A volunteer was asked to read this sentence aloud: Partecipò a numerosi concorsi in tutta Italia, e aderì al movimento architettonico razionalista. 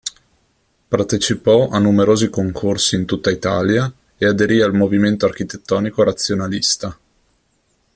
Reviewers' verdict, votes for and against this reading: accepted, 2, 0